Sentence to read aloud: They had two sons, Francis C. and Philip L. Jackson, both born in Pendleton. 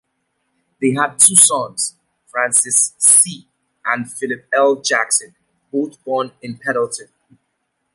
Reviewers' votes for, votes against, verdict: 1, 2, rejected